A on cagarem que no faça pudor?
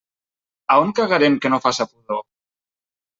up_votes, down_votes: 0, 2